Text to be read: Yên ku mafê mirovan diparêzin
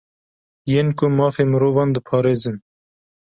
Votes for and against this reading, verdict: 2, 0, accepted